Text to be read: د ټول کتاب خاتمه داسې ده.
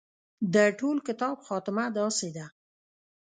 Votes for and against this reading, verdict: 1, 2, rejected